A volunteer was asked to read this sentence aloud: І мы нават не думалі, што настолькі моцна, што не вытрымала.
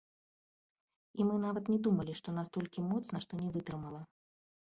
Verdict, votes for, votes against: accepted, 2, 0